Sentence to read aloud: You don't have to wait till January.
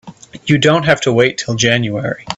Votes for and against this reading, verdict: 2, 0, accepted